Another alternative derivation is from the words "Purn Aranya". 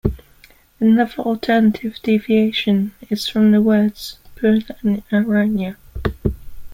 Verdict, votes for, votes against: rejected, 0, 2